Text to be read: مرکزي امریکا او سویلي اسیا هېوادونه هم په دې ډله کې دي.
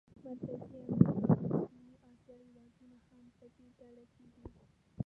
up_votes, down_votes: 0, 2